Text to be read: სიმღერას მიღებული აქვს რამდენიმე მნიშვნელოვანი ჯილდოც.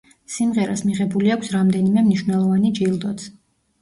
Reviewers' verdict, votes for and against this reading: accepted, 2, 0